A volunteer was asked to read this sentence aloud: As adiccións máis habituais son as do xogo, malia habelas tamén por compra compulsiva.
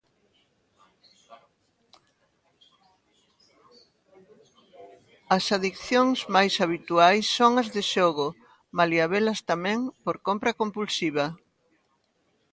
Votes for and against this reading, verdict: 1, 2, rejected